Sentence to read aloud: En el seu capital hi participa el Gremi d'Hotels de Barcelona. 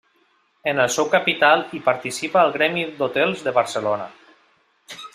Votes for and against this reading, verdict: 3, 0, accepted